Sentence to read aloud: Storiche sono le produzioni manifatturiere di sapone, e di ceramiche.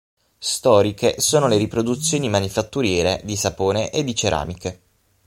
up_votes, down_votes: 0, 6